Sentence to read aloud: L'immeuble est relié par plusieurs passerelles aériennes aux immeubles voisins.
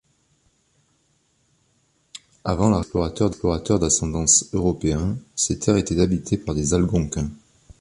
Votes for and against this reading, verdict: 0, 2, rejected